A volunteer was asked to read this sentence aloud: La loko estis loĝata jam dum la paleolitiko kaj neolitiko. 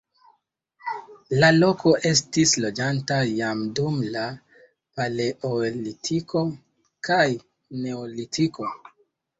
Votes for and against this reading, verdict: 1, 2, rejected